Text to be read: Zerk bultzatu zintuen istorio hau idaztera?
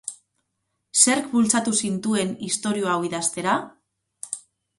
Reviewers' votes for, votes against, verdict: 4, 0, accepted